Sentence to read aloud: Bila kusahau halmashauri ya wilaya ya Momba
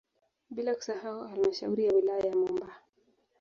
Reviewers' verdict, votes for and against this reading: accepted, 2, 1